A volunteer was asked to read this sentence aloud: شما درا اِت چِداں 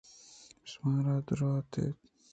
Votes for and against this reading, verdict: 0, 2, rejected